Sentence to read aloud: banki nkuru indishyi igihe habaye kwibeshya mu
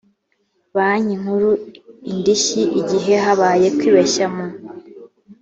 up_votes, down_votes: 2, 0